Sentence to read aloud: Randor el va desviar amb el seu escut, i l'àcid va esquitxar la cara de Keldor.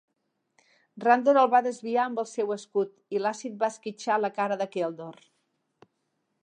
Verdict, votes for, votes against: accepted, 2, 1